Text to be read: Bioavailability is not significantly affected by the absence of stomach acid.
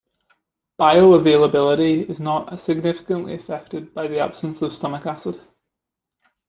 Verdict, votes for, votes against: accepted, 2, 0